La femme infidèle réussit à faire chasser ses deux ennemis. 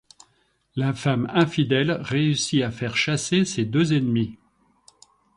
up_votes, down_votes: 3, 0